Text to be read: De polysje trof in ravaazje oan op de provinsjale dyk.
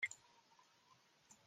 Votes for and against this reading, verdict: 0, 2, rejected